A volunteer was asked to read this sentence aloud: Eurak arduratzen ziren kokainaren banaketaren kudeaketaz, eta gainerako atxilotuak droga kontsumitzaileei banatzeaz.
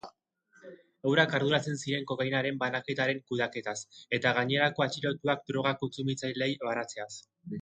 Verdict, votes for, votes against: accepted, 2, 0